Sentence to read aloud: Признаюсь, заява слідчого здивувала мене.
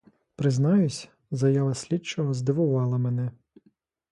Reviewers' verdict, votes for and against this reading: accepted, 2, 1